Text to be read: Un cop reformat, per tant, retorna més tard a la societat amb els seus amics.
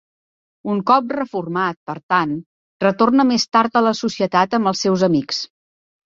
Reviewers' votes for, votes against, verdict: 3, 0, accepted